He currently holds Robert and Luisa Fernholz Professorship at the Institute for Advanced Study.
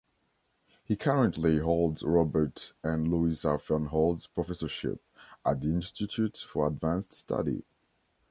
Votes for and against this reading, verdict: 2, 0, accepted